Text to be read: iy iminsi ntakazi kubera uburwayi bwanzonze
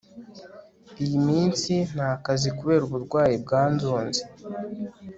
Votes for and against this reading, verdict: 2, 0, accepted